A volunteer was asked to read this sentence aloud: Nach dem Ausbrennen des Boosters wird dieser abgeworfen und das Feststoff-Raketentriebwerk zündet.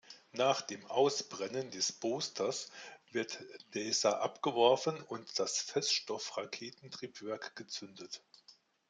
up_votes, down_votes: 0, 2